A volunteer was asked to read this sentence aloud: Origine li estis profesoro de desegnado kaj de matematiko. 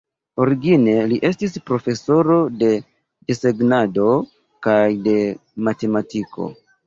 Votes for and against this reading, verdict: 2, 0, accepted